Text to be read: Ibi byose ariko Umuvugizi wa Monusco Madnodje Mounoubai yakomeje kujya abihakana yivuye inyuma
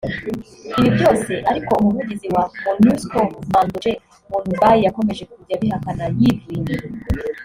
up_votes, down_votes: 2, 0